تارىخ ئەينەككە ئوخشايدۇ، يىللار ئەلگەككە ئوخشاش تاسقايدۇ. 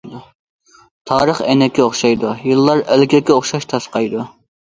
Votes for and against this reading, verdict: 1, 2, rejected